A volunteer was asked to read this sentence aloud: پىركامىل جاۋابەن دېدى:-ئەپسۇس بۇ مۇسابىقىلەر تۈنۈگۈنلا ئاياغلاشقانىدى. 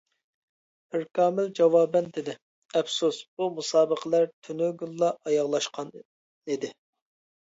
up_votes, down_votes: 0, 2